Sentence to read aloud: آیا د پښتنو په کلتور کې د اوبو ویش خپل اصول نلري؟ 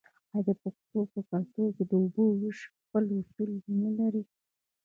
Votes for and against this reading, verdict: 0, 2, rejected